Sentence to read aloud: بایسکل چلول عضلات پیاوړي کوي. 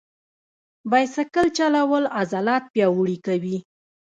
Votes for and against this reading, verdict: 0, 2, rejected